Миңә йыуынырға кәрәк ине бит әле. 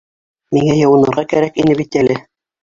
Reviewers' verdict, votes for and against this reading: rejected, 1, 3